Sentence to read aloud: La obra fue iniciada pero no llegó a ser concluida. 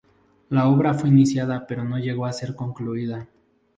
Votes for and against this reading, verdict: 0, 2, rejected